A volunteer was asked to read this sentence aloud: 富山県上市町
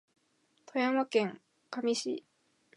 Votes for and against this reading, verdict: 2, 4, rejected